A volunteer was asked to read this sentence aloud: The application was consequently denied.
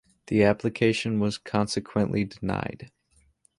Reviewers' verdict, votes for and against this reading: accepted, 2, 0